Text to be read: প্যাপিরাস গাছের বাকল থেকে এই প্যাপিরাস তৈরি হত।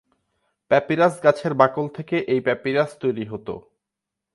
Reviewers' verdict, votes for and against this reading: accepted, 10, 0